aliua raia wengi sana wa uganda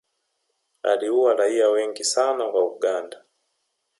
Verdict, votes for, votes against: rejected, 1, 2